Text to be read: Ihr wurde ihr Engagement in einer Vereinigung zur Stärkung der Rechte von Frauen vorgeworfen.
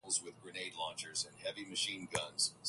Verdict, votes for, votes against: rejected, 0, 4